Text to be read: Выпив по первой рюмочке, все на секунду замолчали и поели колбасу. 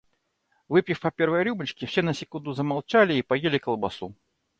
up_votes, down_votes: 2, 0